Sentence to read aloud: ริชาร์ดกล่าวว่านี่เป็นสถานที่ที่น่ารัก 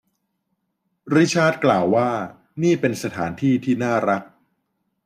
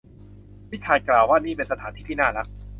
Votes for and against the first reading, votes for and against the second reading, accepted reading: 2, 0, 1, 2, first